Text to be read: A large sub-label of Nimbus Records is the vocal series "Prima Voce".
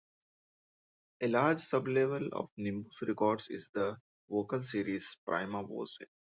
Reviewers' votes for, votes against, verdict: 2, 0, accepted